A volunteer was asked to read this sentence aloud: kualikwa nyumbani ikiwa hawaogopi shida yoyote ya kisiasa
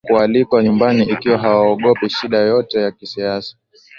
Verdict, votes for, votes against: accepted, 2, 0